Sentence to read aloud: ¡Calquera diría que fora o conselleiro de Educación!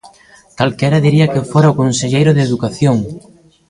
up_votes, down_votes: 1, 2